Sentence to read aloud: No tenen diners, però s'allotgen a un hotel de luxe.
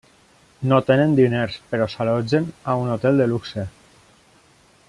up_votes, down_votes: 1, 2